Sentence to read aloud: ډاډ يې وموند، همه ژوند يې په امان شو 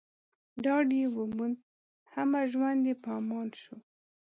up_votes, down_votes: 2, 0